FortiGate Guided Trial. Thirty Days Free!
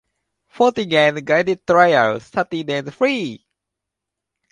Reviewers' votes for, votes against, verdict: 1, 2, rejected